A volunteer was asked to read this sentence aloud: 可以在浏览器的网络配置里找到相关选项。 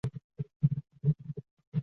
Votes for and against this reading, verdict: 0, 5, rejected